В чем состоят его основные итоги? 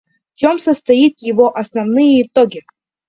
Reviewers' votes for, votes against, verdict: 0, 2, rejected